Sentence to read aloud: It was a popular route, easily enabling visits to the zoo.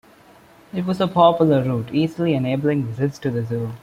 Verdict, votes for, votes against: rejected, 0, 2